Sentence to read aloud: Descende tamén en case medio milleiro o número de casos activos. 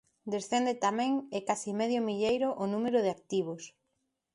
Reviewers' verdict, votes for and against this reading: rejected, 1, 2